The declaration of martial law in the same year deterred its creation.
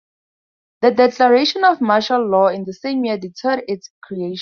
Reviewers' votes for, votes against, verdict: 4, 0, accepted